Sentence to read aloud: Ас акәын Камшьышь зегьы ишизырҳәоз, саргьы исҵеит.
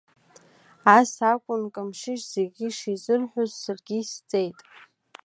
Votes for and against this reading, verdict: 2, 0, accepted